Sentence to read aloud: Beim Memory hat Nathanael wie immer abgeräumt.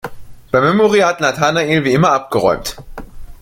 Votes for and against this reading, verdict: 2, 1, accepted